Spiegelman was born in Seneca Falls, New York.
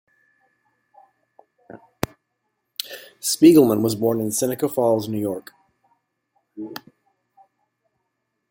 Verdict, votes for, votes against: accepted, 2, 1